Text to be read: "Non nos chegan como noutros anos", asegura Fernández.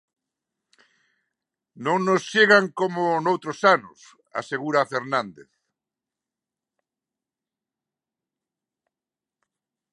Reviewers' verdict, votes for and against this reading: accepted, 3, 0